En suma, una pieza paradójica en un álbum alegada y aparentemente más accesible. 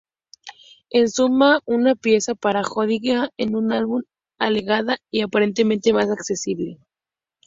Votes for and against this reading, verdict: 0, 2, rejected